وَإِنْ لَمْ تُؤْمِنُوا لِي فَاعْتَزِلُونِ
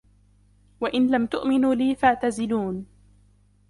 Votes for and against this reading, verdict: 1, 3, rejected